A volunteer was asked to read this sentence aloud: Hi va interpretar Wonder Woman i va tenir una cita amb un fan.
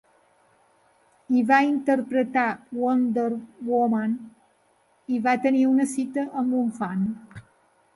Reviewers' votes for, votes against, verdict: 4, 0, accepted